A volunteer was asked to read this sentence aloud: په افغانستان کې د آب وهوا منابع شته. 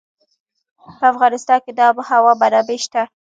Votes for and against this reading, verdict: 1, 2, rejected